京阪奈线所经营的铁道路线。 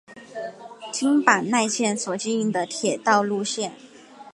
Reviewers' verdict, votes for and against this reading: accepted, 2, 1